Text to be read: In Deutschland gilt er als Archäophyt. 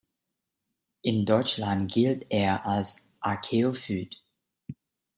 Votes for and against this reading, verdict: 1, 2, rejected